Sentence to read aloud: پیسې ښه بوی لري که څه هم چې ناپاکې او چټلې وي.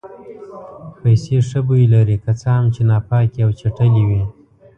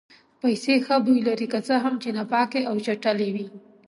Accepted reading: second